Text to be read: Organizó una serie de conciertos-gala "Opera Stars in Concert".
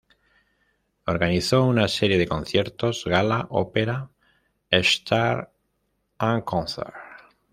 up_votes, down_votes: 1, 2